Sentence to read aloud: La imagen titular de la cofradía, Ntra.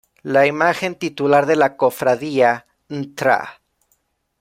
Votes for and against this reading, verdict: 1, 2, rejected